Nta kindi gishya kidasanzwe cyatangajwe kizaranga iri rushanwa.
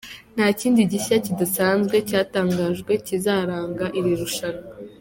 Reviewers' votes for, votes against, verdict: 2, 1, accepted